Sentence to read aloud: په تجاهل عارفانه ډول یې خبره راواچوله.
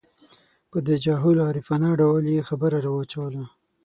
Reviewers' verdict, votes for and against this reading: accepted, 6, 0